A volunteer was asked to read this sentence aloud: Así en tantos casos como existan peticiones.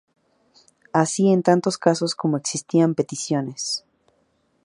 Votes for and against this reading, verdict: 2, 4, rejected